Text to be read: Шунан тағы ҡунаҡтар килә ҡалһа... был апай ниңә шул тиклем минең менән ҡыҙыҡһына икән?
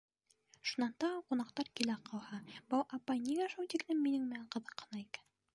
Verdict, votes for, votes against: rejected, 1, 2